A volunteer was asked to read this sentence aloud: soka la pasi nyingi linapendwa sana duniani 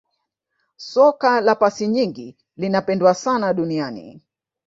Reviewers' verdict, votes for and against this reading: accepted, 2, 1